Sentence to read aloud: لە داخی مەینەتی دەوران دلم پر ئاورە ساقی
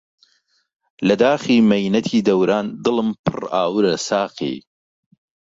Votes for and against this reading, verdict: 2, 0, accepted